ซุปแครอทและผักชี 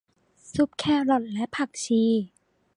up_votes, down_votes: 2, 0